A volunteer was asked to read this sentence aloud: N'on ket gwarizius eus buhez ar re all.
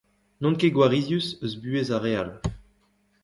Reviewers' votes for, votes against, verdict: 2, 1, accepted